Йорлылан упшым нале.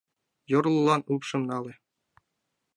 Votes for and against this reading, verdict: 2, 0, accepted